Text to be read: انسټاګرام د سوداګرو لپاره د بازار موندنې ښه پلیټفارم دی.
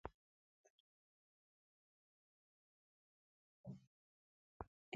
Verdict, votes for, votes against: rejected, 0, 2